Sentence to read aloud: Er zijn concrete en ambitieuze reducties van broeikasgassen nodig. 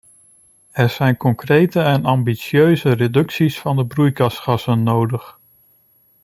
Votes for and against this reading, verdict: 0, 2, rejected